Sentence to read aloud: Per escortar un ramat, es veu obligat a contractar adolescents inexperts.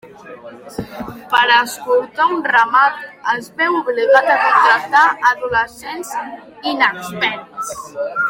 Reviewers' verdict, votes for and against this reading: rejected, 0, 2